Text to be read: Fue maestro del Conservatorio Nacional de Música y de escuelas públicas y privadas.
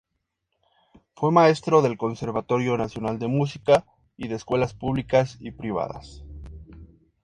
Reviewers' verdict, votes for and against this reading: accepted, 2, 0